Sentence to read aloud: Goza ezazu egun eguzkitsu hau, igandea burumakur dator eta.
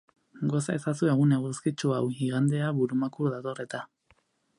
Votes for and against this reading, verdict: 4, 0, accepted